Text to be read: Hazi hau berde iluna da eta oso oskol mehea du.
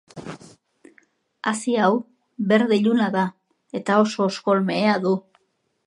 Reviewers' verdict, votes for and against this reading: accepted, 2, 0